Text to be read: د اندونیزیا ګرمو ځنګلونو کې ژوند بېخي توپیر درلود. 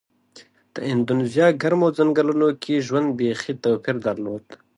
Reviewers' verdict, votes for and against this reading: accepted, 2, 1